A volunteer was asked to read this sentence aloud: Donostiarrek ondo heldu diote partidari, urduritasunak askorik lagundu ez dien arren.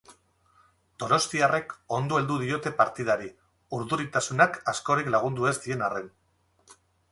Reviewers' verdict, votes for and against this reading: accepted, 2, 0